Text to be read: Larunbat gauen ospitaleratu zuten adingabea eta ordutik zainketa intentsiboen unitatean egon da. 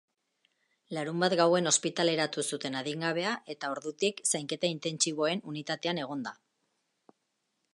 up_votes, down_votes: 2, 0